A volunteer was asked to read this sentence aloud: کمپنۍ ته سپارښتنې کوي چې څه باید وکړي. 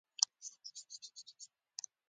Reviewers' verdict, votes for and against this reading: rejected, 1, 2